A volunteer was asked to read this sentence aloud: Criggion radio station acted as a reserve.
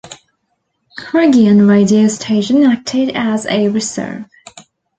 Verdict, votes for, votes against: accepted, 2, 0